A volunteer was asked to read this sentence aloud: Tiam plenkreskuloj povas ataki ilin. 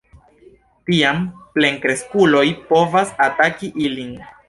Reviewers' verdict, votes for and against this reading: accepted, 2, 0